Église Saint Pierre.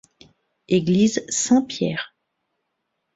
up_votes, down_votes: 2, 0